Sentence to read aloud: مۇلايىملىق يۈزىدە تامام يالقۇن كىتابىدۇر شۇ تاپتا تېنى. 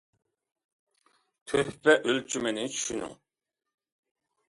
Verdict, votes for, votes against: rejected, 0, 2